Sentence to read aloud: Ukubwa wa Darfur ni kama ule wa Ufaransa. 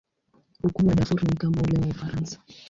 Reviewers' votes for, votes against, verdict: 0, 2, rejected